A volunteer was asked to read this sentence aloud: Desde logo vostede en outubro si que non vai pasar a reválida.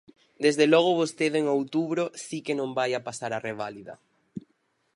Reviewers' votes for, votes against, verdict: 0, 4, rejected